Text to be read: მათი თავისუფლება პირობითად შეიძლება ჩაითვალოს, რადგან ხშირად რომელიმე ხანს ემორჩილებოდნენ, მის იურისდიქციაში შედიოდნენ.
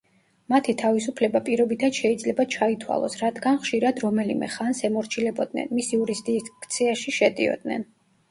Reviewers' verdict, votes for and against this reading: rejected, 1, 2